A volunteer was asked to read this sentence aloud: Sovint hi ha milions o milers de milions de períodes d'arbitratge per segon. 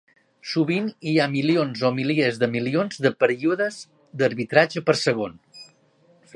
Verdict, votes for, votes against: rejected, 1, 2